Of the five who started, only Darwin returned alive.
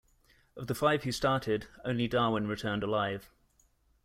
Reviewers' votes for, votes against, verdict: 2, 0, accepted